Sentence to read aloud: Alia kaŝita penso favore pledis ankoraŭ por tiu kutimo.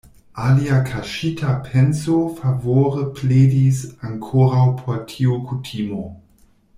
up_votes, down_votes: 1, 2